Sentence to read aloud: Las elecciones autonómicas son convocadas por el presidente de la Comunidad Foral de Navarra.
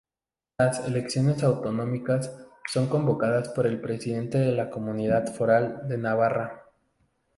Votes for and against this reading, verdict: 2, 0, accepted